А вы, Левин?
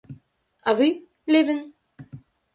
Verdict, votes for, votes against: accepted, 2, 0